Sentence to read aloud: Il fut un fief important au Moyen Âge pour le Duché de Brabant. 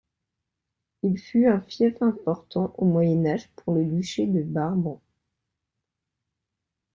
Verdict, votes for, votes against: rejected, 0, 2